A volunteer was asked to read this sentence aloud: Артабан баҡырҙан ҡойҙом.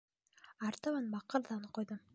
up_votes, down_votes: 1, 2